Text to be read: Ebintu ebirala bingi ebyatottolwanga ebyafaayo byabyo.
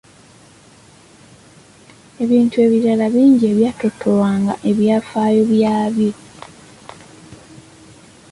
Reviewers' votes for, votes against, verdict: 2, 0, accepted